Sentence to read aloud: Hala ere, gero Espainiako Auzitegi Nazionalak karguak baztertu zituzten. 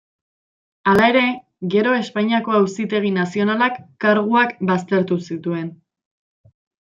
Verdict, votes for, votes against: rejected, 1, 3